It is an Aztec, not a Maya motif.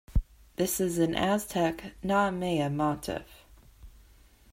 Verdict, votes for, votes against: rejected, 1, 2